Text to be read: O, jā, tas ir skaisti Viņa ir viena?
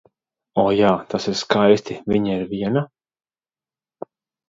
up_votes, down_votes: 2, 0